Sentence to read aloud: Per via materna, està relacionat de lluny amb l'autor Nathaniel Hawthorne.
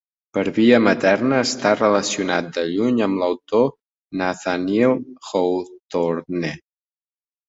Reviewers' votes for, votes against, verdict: 0, 2, rejected